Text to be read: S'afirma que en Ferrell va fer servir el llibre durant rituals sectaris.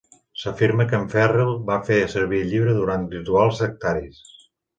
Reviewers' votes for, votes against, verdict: 1, 2, rejected